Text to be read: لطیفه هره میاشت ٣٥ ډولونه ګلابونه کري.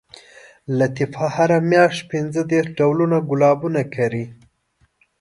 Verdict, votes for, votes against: rejected, 0, 2